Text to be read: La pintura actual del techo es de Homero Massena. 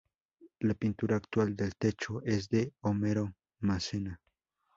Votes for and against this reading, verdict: 2, 0, accepted